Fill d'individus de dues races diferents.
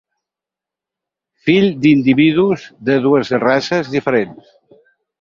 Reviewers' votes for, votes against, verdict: 6, 0, accepted